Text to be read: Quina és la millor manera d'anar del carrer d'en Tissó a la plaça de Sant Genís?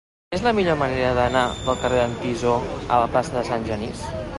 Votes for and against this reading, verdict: 0, 2, rejected